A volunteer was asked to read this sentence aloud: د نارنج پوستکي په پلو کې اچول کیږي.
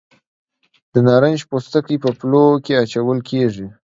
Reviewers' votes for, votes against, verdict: 2, 0, accepted